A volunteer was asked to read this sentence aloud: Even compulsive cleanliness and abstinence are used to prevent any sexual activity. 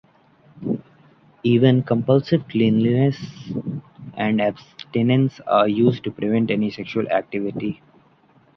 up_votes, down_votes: 2, 0